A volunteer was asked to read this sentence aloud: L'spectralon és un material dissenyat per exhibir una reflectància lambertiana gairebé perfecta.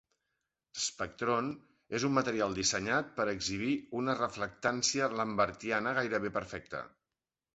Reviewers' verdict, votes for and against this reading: rejected, 1, 2